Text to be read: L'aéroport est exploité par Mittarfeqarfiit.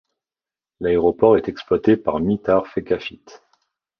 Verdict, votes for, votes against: rejected, 0, 2